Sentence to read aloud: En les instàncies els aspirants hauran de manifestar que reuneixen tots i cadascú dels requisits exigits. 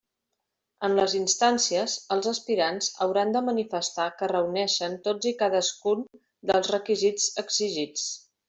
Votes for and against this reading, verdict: 2, 0, accepted